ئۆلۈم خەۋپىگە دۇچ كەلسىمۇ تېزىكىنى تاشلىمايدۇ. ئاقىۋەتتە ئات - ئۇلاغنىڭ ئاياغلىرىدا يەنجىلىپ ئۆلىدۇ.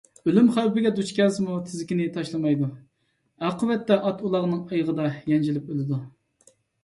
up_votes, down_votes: 1, 2